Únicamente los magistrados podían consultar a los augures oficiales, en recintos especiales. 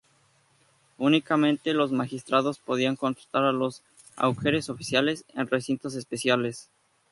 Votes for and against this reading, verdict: 2, 0, accepted